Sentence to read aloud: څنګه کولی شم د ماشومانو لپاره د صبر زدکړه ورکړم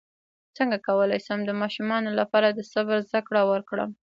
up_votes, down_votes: 2, 1